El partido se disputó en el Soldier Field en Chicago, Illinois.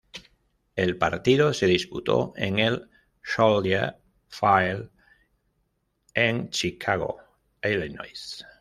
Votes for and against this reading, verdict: 1, 2, rejected